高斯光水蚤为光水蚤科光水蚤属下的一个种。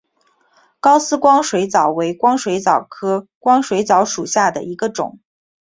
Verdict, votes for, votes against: accepted, 2, 0